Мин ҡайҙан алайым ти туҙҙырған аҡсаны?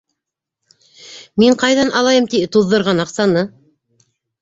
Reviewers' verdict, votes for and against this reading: rejected, 1, 2